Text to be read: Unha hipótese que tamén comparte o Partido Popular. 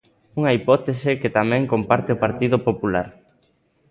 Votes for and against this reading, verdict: 2, 0, accepted